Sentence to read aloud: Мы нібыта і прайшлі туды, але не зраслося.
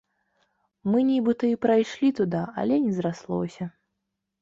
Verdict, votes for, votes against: rejected, 1, 2